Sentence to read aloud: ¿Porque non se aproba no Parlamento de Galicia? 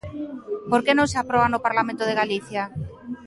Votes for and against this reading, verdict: 2, 0, accepted